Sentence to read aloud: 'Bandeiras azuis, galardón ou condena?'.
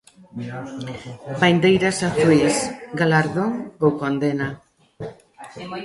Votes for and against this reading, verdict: 1, 2, rejected